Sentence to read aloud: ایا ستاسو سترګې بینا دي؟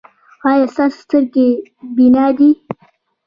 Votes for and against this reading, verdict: 1, 2, rejected